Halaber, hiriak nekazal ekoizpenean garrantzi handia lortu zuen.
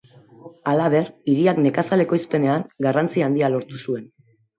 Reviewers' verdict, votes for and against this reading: accepted, 2, 0